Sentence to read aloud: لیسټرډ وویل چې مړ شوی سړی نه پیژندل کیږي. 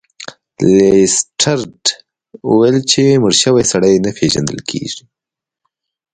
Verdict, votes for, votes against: accepted, 2, 0